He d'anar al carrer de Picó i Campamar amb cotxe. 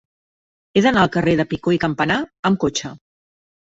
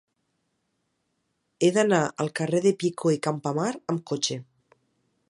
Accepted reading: second